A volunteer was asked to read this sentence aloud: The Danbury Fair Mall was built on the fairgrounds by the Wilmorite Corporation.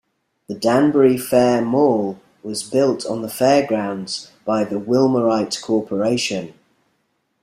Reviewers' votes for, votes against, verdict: 2, 0, accepted